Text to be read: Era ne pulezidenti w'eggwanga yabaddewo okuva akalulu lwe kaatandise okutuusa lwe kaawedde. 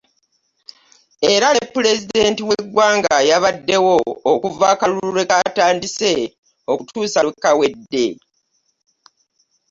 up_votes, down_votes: 2, 1